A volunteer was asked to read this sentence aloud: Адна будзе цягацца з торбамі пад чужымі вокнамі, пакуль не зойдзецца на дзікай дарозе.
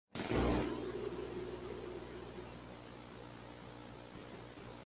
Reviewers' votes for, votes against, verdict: 0, 2, rejected